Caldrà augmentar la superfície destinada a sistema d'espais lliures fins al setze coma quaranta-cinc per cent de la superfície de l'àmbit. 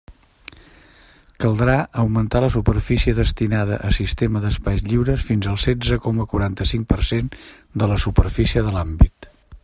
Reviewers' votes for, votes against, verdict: 3, 1, accepted